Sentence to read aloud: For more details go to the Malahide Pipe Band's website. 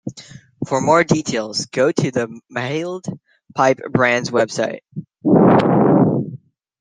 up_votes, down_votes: 0, 2